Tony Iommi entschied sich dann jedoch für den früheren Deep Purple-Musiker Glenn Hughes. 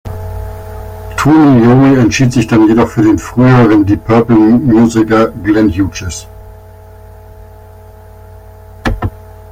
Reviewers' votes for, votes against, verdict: 1, 2, rejected